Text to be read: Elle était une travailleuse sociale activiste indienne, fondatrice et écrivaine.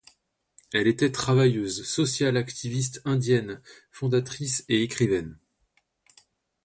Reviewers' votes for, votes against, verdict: 0, 2, rejected